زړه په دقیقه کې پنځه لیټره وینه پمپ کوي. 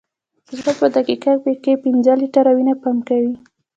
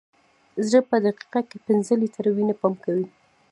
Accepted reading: first